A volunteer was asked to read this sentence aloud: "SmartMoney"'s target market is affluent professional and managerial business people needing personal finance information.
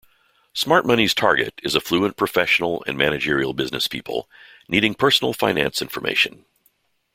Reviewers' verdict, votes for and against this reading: rejected, 0, 2